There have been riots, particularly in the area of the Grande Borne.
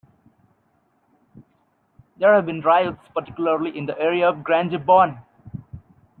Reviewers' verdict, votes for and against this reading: rejected, 0, 2